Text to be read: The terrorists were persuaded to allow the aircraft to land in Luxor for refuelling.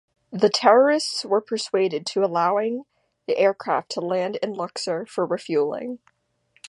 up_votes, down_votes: 0, 2